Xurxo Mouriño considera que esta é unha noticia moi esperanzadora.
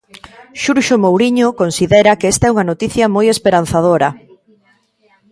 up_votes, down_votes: 1, 2